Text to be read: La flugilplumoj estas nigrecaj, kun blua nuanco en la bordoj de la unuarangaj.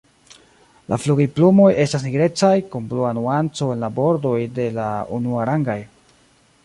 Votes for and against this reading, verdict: 2, 0, accepted